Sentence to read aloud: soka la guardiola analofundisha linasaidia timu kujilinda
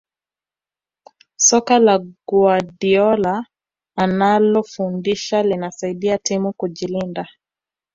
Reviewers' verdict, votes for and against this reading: rejected, 0, 2